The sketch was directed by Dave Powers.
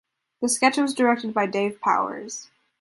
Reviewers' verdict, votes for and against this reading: accepted, 2, 0